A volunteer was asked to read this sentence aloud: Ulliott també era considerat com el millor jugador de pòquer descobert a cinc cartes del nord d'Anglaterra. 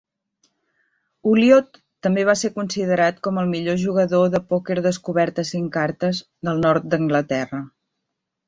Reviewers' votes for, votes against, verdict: 0, 2, rejected